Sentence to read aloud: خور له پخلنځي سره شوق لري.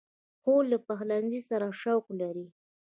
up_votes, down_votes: 0, 2